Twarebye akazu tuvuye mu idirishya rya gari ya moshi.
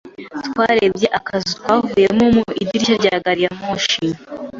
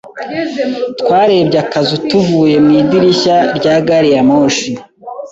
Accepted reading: second